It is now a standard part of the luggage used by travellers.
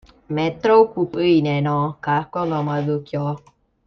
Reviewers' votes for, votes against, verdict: 0, 2, rejected